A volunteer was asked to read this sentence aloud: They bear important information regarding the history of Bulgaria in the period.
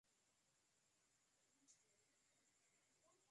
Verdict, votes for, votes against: rejected, 0, 2